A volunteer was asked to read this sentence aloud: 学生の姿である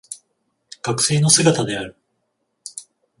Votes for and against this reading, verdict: 14, 0, accepted